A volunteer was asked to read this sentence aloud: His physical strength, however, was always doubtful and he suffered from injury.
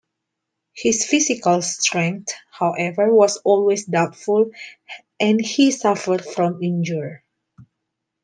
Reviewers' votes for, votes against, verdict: 1, 2, rejected